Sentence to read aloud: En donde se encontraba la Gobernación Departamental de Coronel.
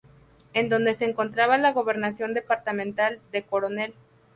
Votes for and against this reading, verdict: 0, 2, rejected